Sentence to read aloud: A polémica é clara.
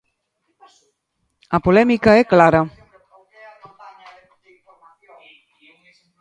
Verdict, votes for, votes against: rejected, 0, 2